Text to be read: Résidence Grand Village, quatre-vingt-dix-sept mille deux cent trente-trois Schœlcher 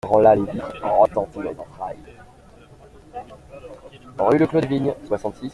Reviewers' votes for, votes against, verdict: 0, 2, rejected